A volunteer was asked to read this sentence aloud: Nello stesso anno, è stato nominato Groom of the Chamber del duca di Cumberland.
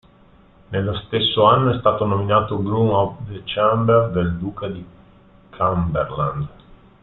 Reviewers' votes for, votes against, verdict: 1, 2, rejected